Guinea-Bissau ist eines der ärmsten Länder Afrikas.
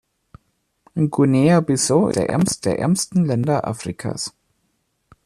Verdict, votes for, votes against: rejected, 1, 2